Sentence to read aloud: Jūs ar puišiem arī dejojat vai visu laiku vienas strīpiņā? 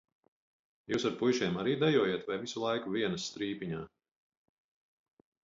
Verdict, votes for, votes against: accepted, 4, 0